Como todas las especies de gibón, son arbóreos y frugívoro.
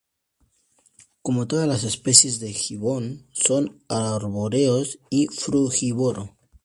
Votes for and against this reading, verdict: 2, 2, rejected